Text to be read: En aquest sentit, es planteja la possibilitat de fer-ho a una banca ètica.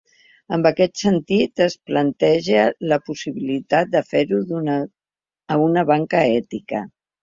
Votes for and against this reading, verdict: 0, 2, rejected